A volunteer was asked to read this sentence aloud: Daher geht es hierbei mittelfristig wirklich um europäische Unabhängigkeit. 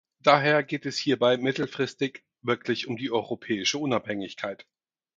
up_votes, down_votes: 2, 4